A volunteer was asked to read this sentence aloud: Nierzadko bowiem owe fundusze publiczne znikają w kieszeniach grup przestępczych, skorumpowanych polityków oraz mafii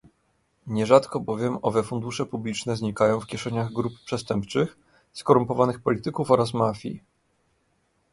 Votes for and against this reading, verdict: 2, 0, accepted